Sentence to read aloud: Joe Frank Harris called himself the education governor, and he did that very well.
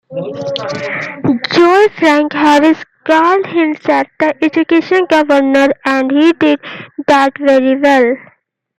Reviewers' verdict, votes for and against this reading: accepted, 2, 0